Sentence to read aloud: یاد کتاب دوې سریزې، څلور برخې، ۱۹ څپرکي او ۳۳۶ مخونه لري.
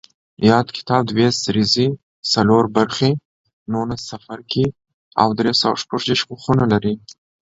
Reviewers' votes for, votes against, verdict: 0, 2, rejected